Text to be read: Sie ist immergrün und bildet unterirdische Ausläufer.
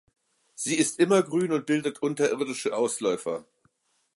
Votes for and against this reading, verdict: 2, 0, accepted